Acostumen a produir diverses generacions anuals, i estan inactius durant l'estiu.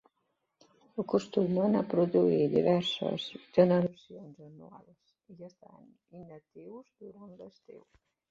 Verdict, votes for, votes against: rejected, 0, 2